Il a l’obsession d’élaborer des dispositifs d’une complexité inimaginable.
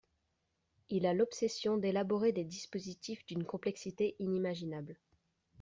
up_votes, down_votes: 2, 0